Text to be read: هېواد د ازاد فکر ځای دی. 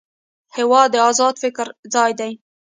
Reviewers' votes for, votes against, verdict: 2, 0, accepted